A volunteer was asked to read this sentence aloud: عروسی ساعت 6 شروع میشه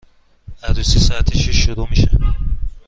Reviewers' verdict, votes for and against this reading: rejected, 0, 2